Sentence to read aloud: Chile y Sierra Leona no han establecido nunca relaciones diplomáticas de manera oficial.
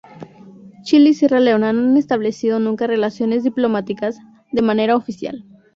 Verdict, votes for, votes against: rejected, 0, 2